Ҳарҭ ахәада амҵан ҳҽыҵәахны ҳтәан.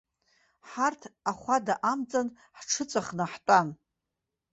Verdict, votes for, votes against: rejected, 1, 2